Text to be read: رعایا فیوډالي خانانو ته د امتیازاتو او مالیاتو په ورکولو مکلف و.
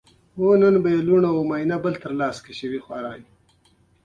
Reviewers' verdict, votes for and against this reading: accepted, 2, 1